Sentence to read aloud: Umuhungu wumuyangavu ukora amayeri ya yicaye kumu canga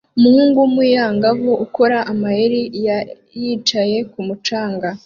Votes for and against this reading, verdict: 1, 2, rejected